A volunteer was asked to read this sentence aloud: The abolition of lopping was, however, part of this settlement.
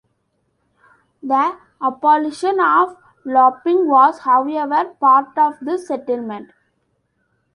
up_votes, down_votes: 1, 2